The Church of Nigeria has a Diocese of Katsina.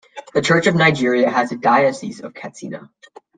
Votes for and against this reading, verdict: 2, 0, accepted